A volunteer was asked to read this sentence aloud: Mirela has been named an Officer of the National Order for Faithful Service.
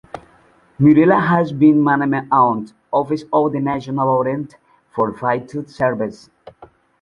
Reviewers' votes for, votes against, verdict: 1, 2, rejected